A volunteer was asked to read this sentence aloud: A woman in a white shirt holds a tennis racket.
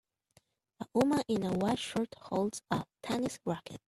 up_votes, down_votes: 2, 0